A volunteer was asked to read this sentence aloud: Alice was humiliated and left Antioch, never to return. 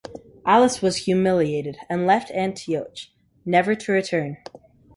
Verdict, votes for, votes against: accepted, 2, 0